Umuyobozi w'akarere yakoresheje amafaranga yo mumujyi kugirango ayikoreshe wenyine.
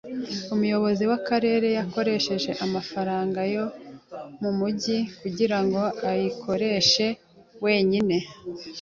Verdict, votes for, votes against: accepted, 2, 0